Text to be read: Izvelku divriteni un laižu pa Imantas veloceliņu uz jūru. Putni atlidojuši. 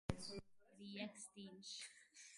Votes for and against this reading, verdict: 0, 2, rejected